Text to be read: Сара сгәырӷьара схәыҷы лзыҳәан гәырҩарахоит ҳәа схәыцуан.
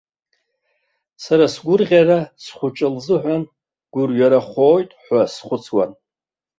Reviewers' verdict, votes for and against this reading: accepted, 2, 1